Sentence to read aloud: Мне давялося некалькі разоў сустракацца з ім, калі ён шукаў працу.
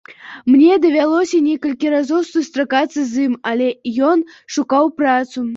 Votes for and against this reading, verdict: 0, 2, rejected